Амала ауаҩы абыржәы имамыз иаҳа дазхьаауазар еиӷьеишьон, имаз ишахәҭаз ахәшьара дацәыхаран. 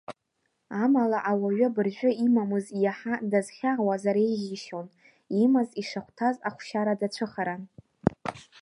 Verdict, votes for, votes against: rejected, 0, 2